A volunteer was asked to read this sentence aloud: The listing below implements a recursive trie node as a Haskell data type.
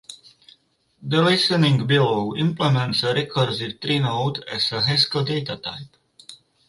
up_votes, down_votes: 4, 0